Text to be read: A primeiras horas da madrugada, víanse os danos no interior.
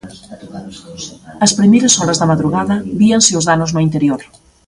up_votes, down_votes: 1, 2